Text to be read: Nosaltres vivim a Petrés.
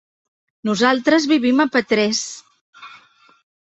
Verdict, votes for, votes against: accepted, 3, 0